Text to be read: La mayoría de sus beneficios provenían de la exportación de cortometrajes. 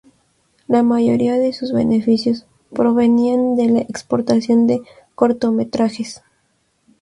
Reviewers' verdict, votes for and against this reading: rejected, 0, 2